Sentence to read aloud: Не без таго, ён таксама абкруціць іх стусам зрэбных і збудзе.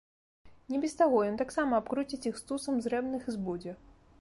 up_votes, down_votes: 2, 0